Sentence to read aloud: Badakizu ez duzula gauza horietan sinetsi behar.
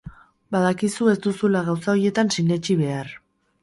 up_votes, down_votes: 0, 2